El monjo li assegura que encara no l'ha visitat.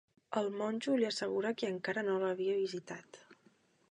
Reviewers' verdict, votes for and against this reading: rejected, 2, 3